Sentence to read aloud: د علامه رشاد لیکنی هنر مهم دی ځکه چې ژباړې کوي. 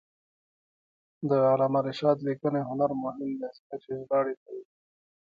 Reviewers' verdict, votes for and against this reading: rejected, 0, 2